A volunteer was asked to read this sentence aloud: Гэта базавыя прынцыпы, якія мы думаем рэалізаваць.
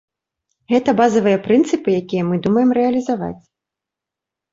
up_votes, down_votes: 2, 0